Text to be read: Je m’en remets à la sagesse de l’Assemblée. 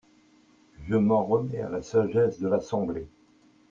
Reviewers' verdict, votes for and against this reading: accepted, 2, 0